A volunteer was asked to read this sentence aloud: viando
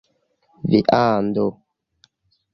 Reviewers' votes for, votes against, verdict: 2, 0, accepted